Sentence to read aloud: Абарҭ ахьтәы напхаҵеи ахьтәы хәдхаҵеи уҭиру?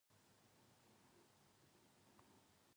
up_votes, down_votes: 1, 2